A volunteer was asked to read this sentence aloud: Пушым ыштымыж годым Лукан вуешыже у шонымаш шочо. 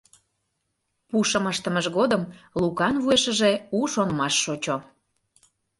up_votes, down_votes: 2, 0